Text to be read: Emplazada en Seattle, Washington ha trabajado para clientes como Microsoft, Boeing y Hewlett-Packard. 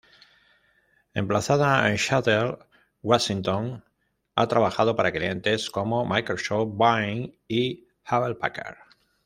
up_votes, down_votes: 0, 2